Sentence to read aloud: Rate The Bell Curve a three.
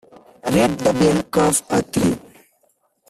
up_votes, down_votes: 3, 2